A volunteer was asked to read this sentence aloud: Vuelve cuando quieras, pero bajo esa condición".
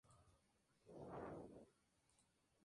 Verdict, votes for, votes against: rejected, 0, 2